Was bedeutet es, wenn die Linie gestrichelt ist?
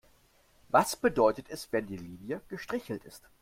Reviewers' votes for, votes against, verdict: 2, 0, accepted